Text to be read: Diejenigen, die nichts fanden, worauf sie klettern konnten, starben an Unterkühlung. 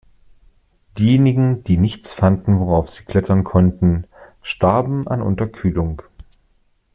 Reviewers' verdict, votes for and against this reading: accepted, 2, 0